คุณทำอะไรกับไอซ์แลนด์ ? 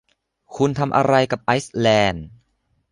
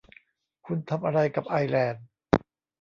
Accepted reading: first